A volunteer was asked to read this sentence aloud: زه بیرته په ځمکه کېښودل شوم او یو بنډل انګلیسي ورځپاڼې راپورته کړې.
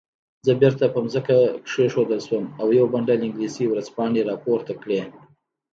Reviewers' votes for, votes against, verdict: 2, 1, accepted